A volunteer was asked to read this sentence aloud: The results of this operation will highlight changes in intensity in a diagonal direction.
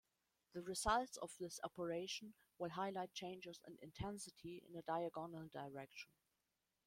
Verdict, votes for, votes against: rejected, 1, 2